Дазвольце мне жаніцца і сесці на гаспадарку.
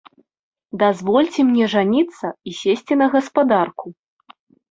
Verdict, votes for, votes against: accepted, 2, 0